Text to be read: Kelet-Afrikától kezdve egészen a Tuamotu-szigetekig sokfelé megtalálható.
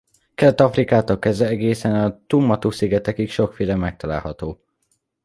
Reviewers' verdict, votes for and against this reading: rejected, 0, 2